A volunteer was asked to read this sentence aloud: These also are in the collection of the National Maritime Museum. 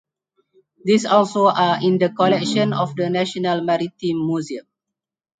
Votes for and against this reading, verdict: 4, 2, accepted